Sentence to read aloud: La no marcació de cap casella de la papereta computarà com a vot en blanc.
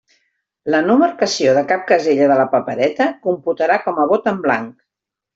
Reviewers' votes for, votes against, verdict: 2, 0, accepted